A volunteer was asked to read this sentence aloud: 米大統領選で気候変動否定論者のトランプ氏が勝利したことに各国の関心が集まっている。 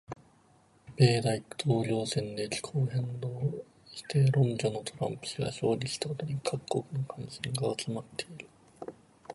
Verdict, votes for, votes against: rejected, 1, 2